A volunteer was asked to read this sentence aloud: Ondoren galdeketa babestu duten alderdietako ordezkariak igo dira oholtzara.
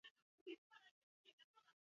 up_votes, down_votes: 2, 4